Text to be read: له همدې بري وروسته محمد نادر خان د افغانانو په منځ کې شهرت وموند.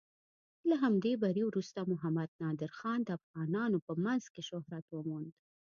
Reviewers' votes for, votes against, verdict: 2, 1, accepted